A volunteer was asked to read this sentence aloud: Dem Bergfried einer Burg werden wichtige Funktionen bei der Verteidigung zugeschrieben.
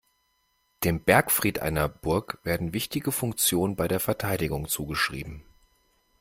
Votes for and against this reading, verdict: 2, 0, accepted